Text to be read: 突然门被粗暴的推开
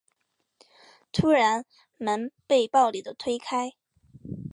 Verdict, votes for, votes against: rejected, 0, 2